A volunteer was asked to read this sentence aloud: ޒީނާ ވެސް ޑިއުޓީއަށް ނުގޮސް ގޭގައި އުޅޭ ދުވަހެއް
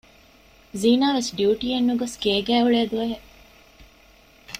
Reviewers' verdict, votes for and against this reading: accepted, 2, 0